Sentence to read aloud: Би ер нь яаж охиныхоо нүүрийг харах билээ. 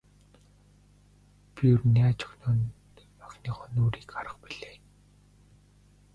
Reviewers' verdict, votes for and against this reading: rejected, 1, 2